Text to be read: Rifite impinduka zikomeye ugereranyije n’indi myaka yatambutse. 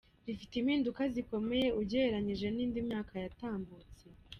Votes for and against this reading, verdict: 0, 2, rejected